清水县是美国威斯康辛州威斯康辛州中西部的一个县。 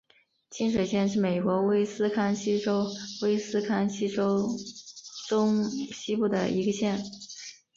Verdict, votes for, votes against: accepted, 3, 0